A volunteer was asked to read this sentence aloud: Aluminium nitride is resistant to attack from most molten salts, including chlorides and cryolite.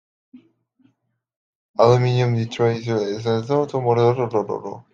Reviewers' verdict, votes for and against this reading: rejected, 0, 2